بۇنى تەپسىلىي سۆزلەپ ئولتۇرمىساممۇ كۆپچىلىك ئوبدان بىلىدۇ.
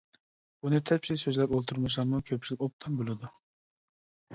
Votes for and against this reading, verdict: 2, 1, accepted